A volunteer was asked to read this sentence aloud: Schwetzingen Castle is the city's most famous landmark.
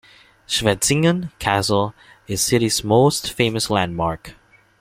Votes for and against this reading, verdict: 1, 2, rejected